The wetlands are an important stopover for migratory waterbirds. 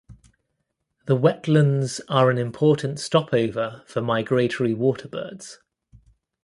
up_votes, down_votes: 2, 1